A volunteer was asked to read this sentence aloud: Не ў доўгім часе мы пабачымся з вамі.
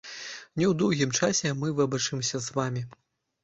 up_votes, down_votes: 1, 2